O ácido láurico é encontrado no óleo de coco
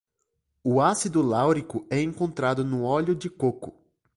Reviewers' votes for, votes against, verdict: 2, 0, accepted